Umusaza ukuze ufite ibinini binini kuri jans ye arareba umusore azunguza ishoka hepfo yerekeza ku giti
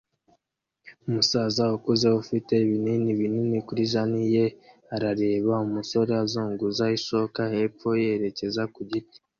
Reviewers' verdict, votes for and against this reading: accepted, 2, 0